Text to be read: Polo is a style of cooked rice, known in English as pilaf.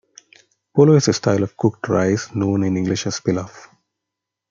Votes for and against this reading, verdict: 3, 0, accepted